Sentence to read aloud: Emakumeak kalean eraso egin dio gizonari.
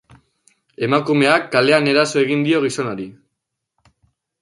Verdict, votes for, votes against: accepted, 2, 0